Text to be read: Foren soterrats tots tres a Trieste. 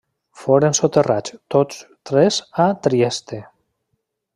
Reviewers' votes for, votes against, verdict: 2, 0, accepted